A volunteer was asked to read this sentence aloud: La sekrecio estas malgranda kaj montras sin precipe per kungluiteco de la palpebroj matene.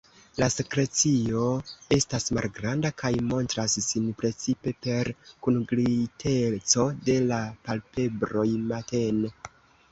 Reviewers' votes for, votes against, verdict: 1, 3, rejected